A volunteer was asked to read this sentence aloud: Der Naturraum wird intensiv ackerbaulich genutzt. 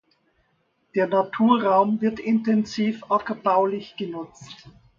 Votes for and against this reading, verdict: 2, 0, accepted